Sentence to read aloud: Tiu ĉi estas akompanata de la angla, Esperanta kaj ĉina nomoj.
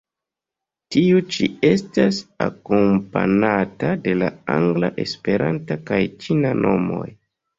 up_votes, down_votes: 1, 2